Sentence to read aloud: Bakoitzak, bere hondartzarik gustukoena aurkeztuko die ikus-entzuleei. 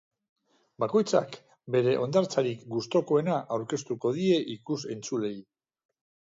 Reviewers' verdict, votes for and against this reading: accepted, 2, 0